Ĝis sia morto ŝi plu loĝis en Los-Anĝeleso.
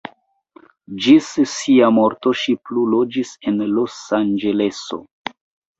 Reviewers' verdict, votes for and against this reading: accepted, 2, 1